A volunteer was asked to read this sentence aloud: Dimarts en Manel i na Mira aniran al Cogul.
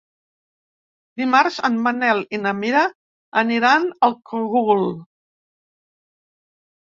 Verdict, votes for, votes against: accepted, 3, 2